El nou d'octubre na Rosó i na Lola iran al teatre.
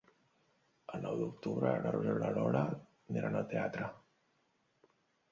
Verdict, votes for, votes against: rejected, 0, 2